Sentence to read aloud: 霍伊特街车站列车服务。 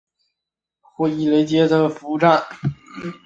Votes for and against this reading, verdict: 0, 3, rejected